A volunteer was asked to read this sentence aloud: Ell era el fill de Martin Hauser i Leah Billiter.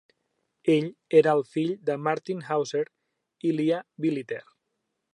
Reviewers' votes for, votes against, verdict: 2, 0, accepted